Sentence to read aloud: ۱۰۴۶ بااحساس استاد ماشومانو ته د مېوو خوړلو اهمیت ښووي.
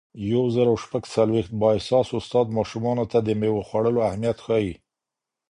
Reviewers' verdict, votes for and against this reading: rejected, 0, 2